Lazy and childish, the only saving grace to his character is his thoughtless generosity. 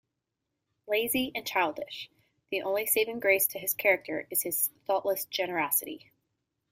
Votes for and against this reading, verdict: 3, 0, accepted